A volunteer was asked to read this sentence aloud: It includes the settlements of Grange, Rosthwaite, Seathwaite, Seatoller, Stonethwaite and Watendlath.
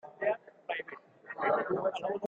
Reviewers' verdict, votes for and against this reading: rejected, 0, 2